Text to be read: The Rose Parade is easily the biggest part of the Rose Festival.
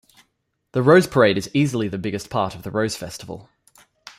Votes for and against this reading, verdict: 2, 0, accepted